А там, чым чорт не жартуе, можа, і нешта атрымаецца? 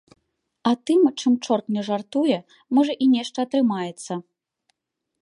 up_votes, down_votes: 1, 2